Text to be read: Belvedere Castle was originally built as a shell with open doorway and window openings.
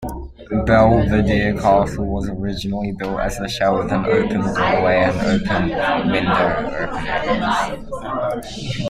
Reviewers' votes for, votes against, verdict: 1, 2, rejected